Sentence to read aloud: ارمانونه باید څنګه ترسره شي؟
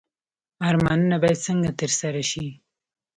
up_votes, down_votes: 2, 0